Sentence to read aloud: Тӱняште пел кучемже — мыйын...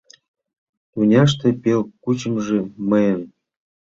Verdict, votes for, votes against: rejected, 1, 2